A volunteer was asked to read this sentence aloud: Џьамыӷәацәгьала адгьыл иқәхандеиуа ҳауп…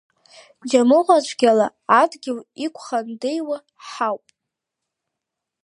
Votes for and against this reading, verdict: 2, 0, accepted